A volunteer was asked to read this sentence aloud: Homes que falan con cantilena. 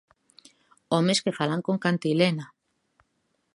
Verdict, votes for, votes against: accepted, 2, 0